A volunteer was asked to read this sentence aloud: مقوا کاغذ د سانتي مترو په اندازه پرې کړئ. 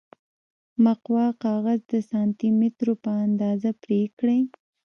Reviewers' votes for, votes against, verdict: 0, 2, rejected